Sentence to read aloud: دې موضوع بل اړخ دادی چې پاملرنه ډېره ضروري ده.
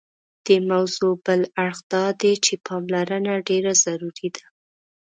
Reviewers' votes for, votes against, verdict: 2, 0, accepted